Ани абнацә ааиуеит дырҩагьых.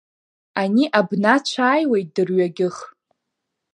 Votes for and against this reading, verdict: 2, 0, accepted